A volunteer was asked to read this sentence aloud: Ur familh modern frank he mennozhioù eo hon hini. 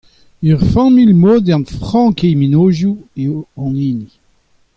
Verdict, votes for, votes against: accepted, 2, 0